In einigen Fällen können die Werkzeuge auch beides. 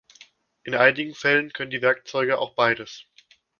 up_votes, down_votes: 2, 0